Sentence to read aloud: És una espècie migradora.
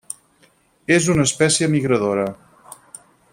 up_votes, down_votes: 6, 0